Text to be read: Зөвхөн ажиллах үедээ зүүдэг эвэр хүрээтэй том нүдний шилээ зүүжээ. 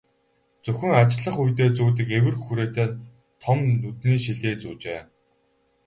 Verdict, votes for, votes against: rejected, 2, 2